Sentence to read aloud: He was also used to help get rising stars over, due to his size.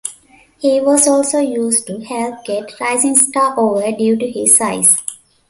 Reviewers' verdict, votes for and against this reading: rejected, 1, 2